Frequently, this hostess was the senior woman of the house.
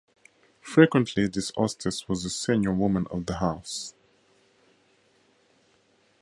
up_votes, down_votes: 2, 0